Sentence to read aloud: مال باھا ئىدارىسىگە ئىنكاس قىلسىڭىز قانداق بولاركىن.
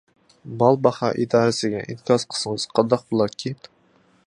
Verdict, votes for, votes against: rejected, 1, 2